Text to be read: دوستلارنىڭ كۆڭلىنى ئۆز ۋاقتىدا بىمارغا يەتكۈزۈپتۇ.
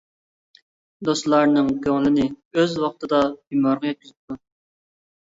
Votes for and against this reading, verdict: 0, 2, rejected